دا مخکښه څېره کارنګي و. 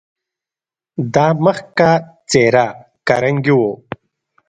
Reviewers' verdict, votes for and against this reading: accepted, 2, 0